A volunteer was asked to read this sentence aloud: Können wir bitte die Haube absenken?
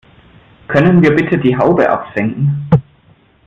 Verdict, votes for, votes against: accepted, 2, 0